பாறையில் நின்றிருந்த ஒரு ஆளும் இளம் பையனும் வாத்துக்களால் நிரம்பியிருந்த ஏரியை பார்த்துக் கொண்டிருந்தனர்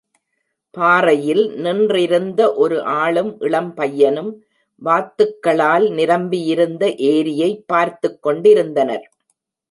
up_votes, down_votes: 2, 0